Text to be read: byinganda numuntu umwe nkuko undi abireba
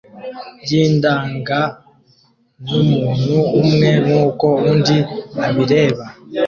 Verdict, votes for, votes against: rejected, 0, 2